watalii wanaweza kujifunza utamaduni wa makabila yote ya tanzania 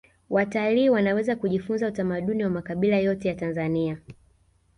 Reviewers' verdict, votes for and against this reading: rejected, 1, 2